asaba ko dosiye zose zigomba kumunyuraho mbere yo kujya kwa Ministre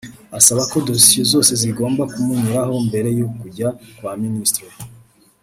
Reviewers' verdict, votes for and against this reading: accepted, 2, 0